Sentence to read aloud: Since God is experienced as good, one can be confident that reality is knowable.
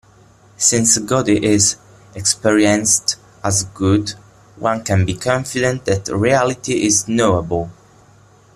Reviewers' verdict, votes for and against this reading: rejected, 0, 2